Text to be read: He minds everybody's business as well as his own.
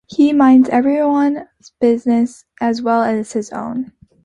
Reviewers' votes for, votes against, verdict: 0, 2, rejected